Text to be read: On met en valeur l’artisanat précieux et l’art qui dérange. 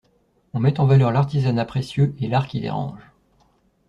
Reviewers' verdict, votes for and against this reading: accepted, 2, 0